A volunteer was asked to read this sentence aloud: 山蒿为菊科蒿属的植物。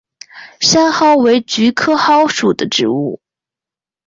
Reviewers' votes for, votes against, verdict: 2, 0, accepted